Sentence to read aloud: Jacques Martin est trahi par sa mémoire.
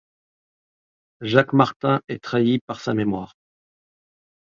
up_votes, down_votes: 2, 0